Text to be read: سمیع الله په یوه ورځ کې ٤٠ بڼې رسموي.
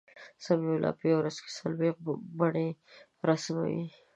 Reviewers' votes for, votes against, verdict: 0, 2, rejected